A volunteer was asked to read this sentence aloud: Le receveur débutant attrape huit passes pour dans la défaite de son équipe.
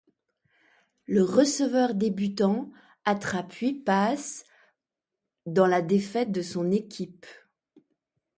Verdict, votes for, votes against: rejected, 0, 2